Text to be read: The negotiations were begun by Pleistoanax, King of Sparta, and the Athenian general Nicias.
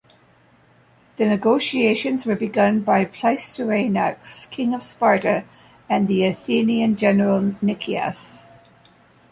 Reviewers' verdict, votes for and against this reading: accepted, 2, 0